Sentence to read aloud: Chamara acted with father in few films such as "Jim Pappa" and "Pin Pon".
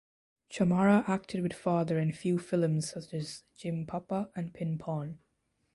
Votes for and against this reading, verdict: 2, 0, accepted